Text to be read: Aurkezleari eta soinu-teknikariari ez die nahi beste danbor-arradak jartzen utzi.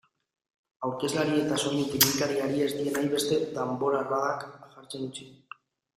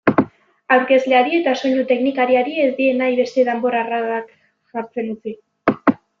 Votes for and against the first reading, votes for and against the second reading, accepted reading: 2, 0, 1, 2, first